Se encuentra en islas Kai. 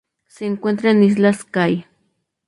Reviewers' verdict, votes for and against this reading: accepted, 4, 0